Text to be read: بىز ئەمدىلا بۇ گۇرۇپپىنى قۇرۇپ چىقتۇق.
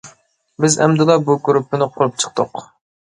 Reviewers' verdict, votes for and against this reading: accepted, 2, 0